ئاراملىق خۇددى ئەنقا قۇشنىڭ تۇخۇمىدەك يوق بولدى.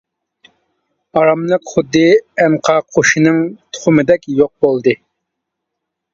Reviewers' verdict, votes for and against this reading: rejected, 0, 2